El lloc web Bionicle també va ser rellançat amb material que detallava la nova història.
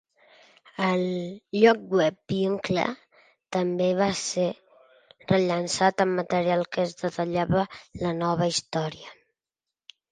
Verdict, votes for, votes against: rejected, 1, 2